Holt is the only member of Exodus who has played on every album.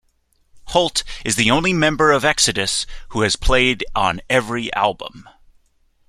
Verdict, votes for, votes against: accepted, 2, 0